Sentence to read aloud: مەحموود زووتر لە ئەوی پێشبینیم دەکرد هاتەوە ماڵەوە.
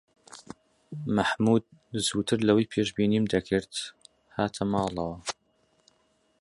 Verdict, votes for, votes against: rejected, 0, 2